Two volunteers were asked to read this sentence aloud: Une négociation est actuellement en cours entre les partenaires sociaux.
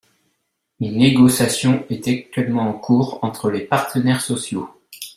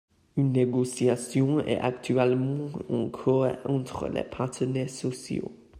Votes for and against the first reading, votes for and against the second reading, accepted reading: 1, 2, 2, 0, second